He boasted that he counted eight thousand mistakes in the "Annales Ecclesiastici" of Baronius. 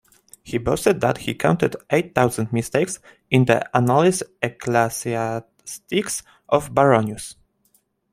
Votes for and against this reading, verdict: 1, 2, rejected